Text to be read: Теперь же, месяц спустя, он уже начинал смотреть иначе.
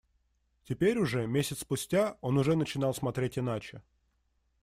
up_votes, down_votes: 0, 2